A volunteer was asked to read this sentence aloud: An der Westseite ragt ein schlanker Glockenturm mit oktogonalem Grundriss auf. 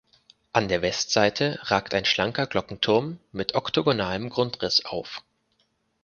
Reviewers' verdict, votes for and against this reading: accepted, 4, 0